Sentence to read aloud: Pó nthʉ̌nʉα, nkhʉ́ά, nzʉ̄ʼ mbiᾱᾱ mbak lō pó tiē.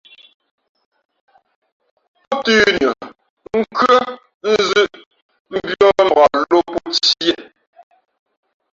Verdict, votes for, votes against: rejected, 1, 2